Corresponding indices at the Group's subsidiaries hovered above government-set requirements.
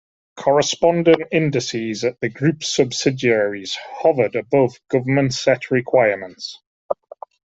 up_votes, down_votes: 2, 1